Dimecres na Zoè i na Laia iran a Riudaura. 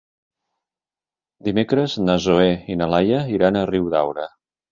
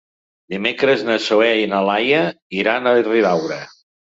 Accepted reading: first